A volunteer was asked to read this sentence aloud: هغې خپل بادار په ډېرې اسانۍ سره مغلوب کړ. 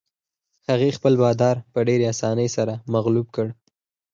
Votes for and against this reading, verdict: 4, 0, accepted